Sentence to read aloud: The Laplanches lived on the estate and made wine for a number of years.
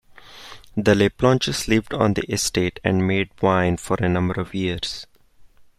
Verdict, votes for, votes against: accepted, 2, 0